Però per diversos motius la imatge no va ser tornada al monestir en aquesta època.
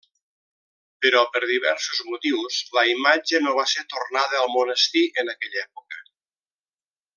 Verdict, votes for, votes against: rejected, 0, 2